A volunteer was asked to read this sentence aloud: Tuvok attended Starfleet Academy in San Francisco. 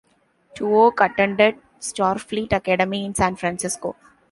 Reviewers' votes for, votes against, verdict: 2, 1, accepted